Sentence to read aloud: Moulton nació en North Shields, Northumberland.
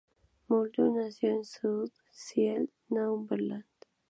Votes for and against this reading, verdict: 0, 4, rejected